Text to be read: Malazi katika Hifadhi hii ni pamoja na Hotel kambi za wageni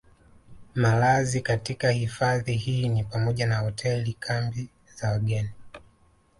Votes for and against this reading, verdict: 2, 0, accepted